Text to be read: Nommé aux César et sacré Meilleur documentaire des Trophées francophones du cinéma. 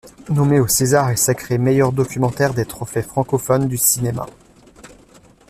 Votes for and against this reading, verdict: 2, 0, accepted